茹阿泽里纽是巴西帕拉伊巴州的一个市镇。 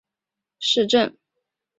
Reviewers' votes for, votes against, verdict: 0, 3, rejected